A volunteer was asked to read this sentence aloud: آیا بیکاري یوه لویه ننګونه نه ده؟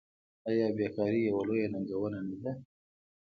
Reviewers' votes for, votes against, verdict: 2, 0, accepted